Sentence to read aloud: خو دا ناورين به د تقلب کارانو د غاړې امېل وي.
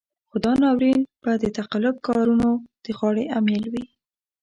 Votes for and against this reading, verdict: 0, 2, rejected